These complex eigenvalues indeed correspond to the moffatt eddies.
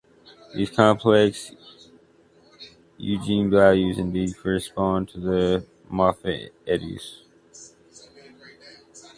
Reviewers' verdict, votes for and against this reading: rejected, 0, 2